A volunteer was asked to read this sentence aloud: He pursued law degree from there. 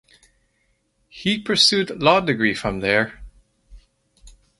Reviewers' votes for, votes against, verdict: 2, 0, accepted